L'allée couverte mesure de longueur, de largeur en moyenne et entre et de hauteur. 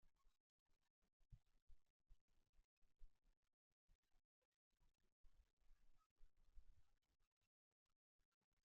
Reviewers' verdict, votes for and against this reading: rejected, 0, 2